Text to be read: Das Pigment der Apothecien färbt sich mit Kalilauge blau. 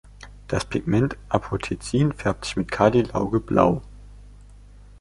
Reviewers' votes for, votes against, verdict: 0, 2, rejected